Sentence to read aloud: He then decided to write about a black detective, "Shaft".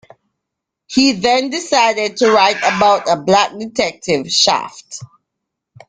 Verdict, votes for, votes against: accepted, 2, 0